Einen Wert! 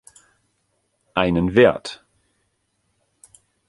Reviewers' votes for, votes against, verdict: 2, 0, accepted